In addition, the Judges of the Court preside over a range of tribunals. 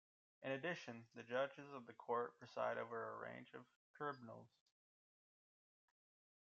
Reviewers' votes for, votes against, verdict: 1, 2, rejected